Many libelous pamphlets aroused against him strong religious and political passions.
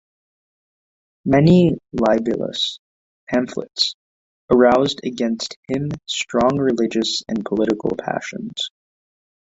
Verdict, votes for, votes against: accepted, 2, 1